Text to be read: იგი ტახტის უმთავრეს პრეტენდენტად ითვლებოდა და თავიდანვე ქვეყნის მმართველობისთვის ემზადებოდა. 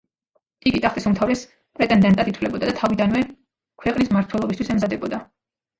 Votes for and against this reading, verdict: 0, 2, rejected